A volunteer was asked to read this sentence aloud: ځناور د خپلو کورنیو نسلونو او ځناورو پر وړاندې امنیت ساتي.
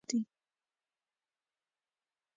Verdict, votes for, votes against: rejected, 0, 2